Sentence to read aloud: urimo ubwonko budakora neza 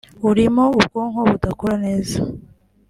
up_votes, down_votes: 2, 0